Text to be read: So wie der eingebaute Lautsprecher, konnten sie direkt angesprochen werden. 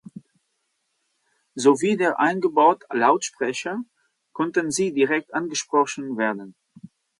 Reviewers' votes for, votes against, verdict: 0, 2, rejected